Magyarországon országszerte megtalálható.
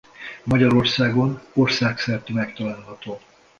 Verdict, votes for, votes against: accepted, 2, 0